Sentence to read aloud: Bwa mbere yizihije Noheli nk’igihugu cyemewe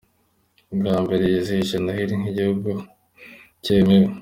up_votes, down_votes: 2, 0